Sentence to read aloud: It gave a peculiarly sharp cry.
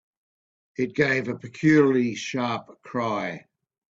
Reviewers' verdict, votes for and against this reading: rejected, 1, 2